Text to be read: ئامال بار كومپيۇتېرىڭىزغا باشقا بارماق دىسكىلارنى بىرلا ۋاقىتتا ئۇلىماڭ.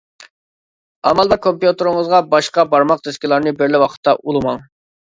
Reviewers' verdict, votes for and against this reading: accepted, 2, 1